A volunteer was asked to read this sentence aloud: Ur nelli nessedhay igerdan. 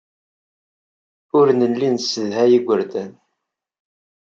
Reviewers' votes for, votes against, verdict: 2, 0, accepted